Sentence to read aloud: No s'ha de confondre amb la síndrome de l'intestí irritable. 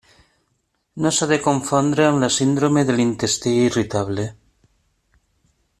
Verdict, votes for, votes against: rejected, 0, 2